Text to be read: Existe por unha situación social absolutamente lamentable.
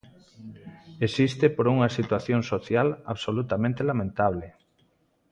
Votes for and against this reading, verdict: 3, 0, accepted